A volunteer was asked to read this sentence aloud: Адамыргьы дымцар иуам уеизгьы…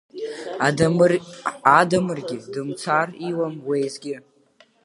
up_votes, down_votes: 0, 2